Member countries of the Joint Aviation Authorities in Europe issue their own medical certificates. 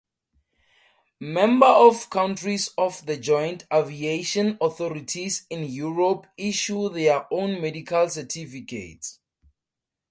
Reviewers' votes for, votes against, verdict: 2, 4, rejected